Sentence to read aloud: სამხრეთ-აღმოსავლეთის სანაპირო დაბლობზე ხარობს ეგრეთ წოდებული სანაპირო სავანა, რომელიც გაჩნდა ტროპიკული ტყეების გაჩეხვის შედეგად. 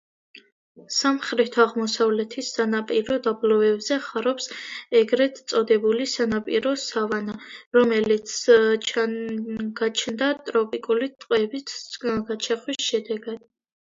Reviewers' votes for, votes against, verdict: 0, 2, rejected